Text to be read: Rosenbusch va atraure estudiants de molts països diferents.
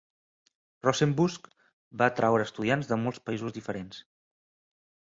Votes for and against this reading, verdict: 3, 0, accepted